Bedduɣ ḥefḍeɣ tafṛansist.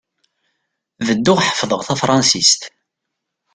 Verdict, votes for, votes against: accepted, 2, 0